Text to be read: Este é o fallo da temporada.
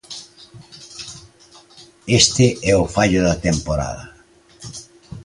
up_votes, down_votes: 2, 0